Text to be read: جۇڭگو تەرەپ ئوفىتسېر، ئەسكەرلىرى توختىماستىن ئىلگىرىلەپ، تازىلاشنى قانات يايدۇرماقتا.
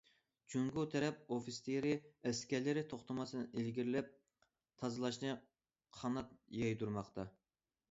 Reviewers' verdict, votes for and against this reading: rejected, 1, 2